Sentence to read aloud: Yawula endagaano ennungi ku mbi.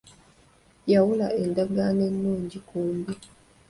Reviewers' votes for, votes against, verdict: 3, 0, accepted